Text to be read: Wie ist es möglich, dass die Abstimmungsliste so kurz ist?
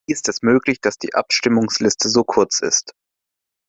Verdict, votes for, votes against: rejected, 0, 2